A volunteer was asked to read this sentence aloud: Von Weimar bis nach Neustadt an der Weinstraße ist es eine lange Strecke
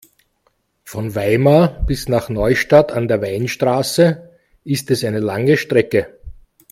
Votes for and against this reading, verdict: 2, 0, accepted